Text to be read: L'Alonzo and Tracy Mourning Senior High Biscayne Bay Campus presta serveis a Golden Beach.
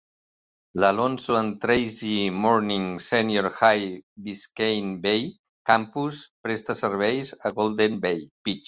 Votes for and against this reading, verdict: 0, 2, rejected